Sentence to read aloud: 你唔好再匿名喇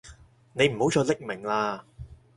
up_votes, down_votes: 4, 0